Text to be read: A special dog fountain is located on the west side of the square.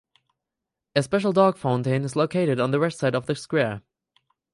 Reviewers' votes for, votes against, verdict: 0, 4, rejected